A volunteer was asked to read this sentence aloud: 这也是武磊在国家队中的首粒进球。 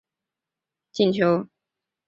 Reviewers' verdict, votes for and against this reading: rejected, 1, 2